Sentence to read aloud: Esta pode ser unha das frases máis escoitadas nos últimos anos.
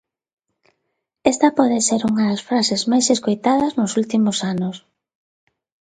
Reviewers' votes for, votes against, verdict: 2, 0, accepted